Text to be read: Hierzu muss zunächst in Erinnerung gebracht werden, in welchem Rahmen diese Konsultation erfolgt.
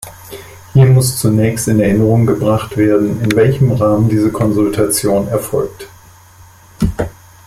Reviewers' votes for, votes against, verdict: 0, 2, rejected